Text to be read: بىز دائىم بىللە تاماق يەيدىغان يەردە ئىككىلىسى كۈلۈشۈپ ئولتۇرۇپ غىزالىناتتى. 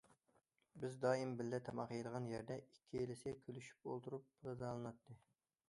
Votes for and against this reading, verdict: 2, 0, accepted